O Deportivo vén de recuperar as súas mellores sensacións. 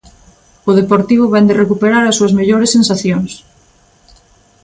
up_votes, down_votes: 2, 0